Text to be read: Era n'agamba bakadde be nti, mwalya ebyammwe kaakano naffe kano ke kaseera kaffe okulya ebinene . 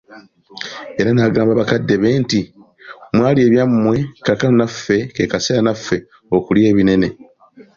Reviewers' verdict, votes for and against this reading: accepted, 2, 0